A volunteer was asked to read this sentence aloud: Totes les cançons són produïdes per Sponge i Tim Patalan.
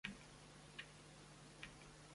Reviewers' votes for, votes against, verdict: 0, 2, rejected